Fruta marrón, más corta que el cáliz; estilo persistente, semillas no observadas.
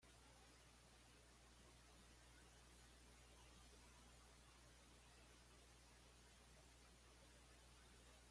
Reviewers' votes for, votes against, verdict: 1, 2, rejected